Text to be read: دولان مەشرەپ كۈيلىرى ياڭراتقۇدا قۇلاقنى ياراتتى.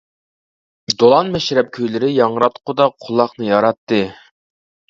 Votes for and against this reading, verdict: 2, 0, accepted